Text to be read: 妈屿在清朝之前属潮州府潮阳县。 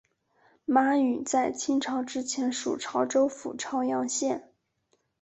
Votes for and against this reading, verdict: 4, 0, accepted